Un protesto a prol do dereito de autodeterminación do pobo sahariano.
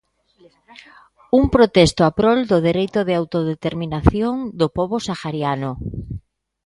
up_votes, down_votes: 2, 0